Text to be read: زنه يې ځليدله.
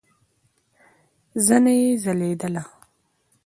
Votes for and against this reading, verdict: 2, 1, accepted